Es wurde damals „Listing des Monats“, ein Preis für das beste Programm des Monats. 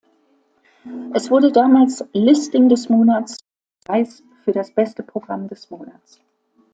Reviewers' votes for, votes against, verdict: 0, 2, rejected